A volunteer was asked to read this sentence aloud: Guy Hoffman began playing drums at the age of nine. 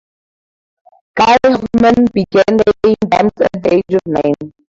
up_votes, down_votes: 0, 2